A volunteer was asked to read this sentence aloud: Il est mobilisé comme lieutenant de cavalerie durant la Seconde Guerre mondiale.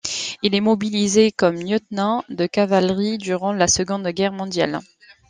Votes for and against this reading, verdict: 2, 0, accepted